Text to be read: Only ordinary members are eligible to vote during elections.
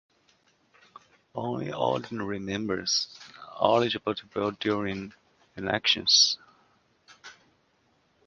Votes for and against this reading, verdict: 3, 2, accepted